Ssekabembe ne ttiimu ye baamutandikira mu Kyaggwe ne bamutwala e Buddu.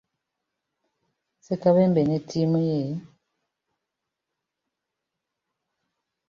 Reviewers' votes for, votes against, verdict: 0, 2, rejected